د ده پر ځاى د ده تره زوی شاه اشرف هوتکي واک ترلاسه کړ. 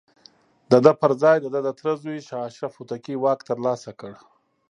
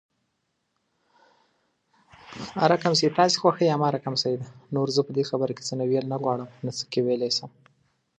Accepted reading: first